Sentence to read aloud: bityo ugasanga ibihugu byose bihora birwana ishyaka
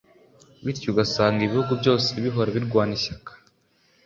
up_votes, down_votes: 2, 0